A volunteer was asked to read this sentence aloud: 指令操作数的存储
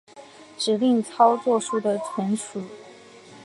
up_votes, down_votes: 4, 0